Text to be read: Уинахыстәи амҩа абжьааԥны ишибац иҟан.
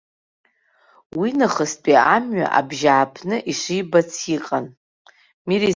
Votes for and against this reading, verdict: 1, 3, rejected